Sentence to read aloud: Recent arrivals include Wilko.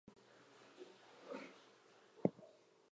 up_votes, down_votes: 0, 2